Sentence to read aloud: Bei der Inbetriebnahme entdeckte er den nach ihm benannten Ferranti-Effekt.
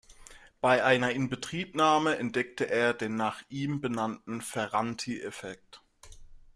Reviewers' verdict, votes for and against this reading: rejected, 0, 2